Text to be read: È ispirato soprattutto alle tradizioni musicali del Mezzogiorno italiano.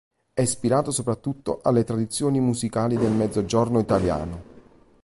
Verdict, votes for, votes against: accepted, 2, 0